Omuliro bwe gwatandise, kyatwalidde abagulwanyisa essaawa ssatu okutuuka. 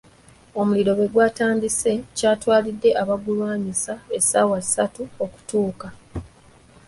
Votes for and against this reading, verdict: 2, 0, accepted